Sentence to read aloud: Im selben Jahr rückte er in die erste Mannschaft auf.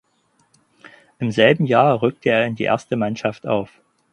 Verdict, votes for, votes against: accepted, 6, 2